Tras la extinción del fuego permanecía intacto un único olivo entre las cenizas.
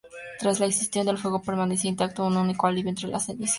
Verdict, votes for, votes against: rejected, 0, 2